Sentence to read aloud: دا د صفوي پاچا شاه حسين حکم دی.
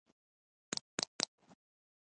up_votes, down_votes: 1, 2